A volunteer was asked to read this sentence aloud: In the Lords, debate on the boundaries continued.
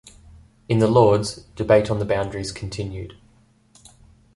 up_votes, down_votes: 2, 0